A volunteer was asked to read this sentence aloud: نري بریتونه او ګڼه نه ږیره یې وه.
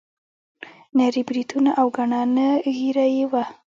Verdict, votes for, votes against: rejected, 1, 2